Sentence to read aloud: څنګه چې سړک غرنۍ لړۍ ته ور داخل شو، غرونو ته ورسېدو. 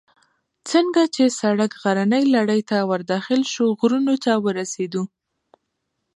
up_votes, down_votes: 1, 2